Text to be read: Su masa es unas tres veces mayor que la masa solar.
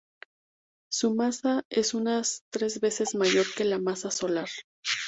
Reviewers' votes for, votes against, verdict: 2, 0, accepted